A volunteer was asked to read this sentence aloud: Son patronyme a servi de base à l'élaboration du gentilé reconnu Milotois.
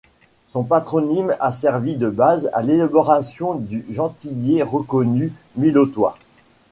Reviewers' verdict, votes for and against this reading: accepted, 2, 0